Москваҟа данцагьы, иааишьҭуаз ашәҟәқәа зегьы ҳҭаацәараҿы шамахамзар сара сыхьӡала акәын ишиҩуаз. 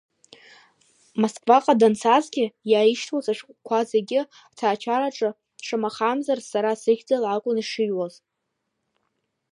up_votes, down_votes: 1, 2